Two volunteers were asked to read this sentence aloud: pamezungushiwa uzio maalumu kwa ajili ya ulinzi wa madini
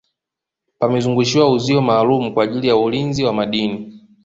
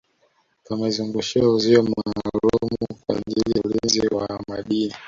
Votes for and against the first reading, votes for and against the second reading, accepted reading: 2, 0, 1, 2, first